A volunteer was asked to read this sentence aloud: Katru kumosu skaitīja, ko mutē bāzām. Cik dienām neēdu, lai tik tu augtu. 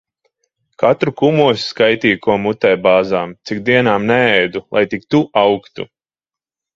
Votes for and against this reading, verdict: 2, 0, accepted